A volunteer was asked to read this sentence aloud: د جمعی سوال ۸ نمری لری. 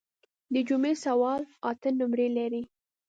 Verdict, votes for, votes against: rejected, 0, 2